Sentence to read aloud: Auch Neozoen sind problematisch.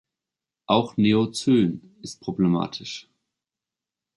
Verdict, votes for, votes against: rejected, 1, 2